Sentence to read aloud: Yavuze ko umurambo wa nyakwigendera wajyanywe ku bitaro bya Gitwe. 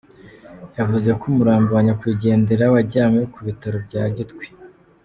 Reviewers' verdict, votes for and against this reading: accepted, 2, 0